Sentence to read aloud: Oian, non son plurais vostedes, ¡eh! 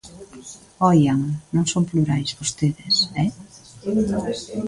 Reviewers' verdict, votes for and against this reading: rejected, 0, 2